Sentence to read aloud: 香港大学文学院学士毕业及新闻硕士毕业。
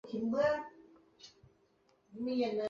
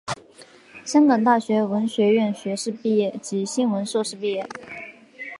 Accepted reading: second